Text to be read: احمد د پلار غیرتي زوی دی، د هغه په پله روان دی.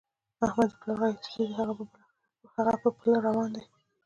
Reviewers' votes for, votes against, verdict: 0, 2, rejected